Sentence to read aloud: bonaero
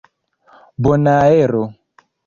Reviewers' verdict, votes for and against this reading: accepted, 2, 0